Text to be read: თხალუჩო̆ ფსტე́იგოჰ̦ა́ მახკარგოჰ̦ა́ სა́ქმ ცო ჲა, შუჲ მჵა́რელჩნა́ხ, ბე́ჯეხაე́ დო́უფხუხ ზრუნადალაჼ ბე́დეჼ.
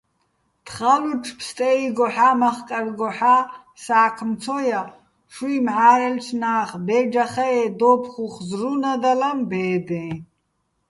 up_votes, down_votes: 2, 0